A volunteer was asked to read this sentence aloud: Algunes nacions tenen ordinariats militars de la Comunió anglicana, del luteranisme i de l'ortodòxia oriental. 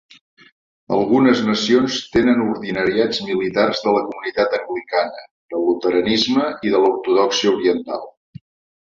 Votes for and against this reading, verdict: 0, 2, rejected